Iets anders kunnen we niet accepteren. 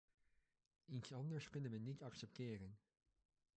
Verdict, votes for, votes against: rejected, 0, 2